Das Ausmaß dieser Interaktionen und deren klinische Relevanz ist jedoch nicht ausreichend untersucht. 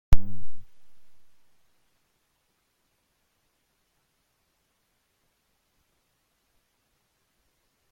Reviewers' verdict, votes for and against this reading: rejected, 0, 2